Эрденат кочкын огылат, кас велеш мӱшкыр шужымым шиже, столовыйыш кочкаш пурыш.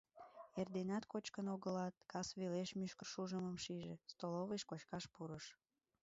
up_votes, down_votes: 3, 4